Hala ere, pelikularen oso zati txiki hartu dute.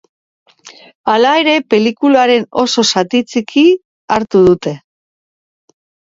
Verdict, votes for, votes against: accepted, 2, 1